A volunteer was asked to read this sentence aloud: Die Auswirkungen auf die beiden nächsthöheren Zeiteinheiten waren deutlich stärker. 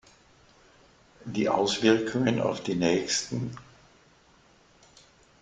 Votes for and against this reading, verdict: 0, 2, rejected